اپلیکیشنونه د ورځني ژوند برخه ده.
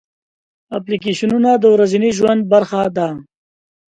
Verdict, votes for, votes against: accepted, 2, 0